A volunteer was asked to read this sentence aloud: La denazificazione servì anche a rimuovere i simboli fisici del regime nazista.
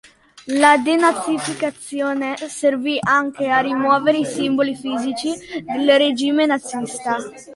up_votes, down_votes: 2, 0